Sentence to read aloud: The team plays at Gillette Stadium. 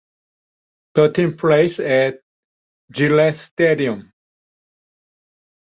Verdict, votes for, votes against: accepted, 2, 1